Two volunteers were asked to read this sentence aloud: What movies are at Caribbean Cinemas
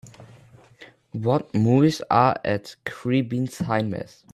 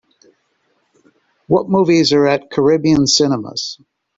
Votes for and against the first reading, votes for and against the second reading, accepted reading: 0, 2, 2, 0, second